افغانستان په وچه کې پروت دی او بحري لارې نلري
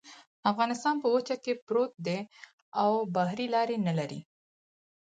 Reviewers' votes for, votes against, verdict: 4, 0, accepted